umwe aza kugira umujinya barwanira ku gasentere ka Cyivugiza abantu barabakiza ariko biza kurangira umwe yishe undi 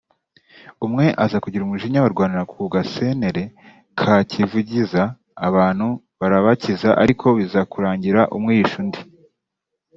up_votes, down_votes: 1, 2